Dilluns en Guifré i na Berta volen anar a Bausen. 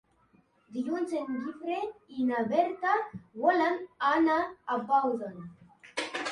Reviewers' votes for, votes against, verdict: 1, 2, rejected